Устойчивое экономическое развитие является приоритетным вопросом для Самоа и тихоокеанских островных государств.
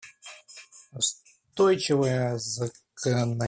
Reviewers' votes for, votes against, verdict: 0, 2, rejected